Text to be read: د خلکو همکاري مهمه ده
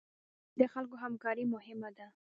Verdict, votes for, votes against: rejected, 0, 2